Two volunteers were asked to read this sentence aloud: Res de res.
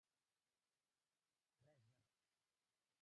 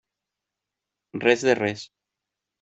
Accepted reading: second